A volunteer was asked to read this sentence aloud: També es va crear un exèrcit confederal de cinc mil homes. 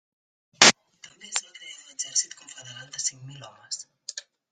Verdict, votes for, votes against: rejected, 0, 2